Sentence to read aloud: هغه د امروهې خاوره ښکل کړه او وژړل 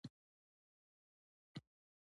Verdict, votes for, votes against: accepted, 2, 1